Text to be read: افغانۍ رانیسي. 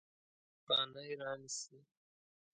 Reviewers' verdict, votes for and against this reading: rejected, 0, 2